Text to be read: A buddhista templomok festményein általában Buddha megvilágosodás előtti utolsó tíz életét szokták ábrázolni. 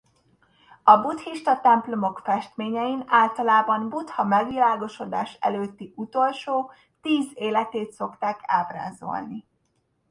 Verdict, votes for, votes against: accepted, 2, 0